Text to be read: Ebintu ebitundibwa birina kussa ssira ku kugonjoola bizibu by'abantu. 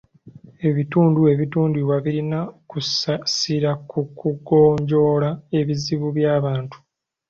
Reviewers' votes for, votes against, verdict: 1, 2, rejected